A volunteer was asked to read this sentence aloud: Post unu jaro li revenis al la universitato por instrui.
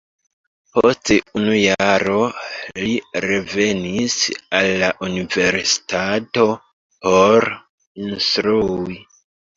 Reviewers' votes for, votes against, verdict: 0, 2, rejected